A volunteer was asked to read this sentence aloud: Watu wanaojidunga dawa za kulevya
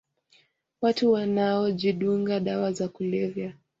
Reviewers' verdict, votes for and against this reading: accepted, 2, 0